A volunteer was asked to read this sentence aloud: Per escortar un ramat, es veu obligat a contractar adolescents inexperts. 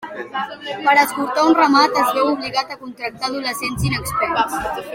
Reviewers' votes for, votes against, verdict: 2, 0, accepted